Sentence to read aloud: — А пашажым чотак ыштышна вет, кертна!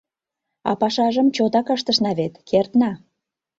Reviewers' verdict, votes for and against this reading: accepted, 2, 0